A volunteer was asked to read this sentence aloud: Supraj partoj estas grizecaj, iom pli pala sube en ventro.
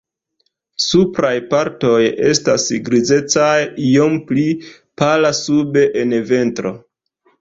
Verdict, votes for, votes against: accepted, 2, 0